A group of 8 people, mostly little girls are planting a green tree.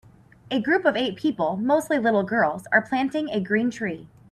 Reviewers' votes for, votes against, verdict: 0, 2, rejected